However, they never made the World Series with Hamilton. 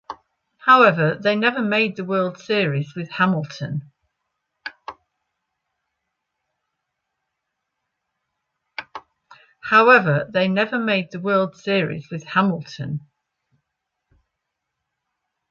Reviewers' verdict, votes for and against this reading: rejected, 1, 2